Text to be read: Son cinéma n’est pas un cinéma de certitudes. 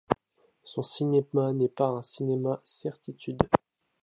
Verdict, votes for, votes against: rejected, 1, 2